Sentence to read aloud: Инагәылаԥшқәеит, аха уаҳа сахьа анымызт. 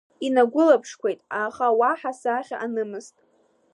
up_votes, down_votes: 2, 0